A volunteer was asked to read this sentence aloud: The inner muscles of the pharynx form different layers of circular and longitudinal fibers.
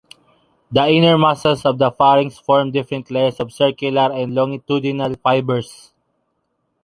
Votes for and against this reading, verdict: 2, 0, accepted